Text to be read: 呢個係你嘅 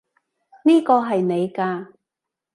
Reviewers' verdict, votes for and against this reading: rejected, 1, 2